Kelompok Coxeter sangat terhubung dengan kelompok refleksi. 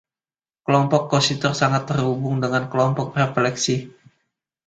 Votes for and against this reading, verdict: 2, 1, accepted